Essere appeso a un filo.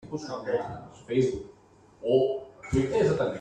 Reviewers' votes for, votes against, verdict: 0, 2, rejected